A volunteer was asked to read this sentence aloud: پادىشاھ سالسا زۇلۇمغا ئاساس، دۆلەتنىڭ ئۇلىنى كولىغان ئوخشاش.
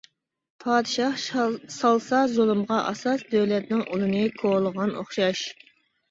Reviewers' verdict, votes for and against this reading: rejected, 2, 3